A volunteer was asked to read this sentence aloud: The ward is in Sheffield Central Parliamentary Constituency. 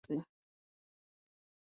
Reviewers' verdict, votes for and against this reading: rejected, 0, 2